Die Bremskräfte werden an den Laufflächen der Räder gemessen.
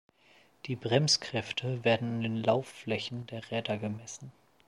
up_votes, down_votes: 1, 2